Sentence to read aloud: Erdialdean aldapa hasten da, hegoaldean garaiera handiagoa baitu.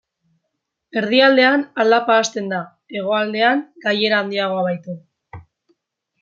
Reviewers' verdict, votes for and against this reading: rejected, 0, 2